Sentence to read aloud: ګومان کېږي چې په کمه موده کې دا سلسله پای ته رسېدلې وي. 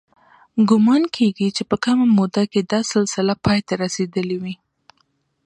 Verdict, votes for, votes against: accepted, 2, 0